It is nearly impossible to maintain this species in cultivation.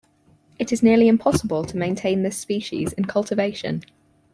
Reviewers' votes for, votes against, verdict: 4, 0, accepted